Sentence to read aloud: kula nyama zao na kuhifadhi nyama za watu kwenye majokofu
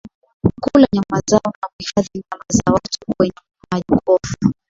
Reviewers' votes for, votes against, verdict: 15, 4, accepted